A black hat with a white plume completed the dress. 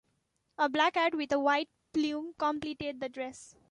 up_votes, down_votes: 2, 1